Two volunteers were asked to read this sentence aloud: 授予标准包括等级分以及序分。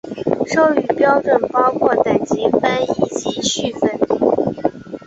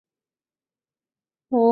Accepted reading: first